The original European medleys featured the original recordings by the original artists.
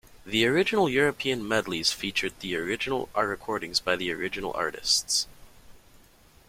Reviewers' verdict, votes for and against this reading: rejected, 0, 2